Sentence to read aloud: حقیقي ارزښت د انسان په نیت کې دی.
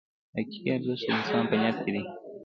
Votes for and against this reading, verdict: 2, 0, accepted